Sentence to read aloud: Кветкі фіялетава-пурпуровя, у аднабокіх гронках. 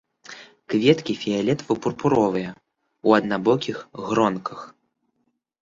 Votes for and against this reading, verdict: 2, 1, accepted